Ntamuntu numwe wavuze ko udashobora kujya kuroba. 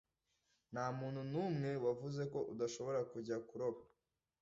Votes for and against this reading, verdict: 2, 0, accepted